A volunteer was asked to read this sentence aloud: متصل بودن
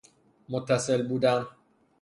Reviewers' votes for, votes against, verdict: 3, 0, accepted